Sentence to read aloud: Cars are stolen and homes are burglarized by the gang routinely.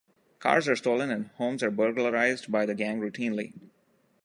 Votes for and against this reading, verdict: 2, 0, accepted